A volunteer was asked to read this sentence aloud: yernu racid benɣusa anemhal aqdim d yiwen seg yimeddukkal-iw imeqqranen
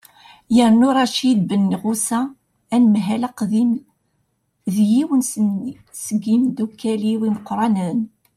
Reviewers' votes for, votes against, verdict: 0, 2, rejected